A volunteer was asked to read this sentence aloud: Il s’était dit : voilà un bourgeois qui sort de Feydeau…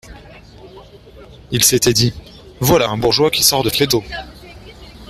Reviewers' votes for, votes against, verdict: 2, 0, accepted